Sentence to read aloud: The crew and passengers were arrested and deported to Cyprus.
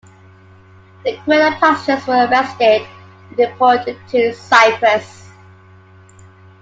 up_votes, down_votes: 0, 2